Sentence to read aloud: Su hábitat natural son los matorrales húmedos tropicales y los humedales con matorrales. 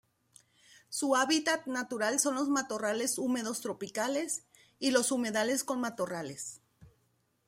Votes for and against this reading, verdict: 2, 0, accepted